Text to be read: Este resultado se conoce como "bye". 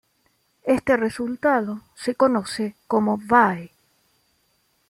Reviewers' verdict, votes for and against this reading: accepted, 2, 0